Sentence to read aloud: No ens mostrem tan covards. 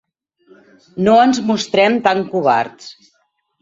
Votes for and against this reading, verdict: 0, 4, rejected